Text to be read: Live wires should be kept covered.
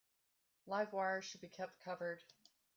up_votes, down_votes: 2, 0